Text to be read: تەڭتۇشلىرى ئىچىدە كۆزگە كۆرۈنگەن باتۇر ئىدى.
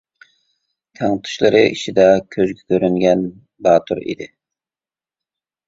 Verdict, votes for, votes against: accepted, 2, 0